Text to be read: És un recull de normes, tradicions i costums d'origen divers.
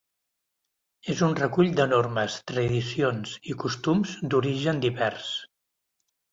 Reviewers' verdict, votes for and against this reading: accepted, 2, 0